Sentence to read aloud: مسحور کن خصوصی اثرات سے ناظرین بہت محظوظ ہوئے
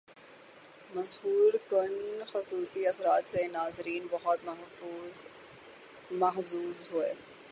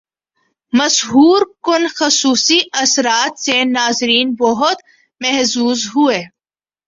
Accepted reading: second